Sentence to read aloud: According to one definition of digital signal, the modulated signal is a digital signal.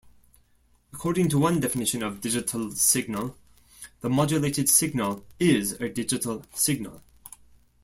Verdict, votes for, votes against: accepted, 2, 0